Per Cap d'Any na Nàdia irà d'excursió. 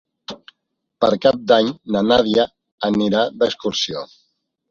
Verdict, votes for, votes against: rejected, 0, 2